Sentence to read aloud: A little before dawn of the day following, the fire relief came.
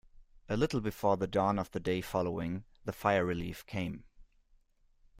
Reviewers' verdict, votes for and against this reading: rejected, 0, 2